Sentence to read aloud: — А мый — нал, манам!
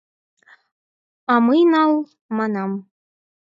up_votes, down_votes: 4, 0